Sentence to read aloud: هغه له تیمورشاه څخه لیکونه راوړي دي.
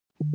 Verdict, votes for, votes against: rejected, 1, 2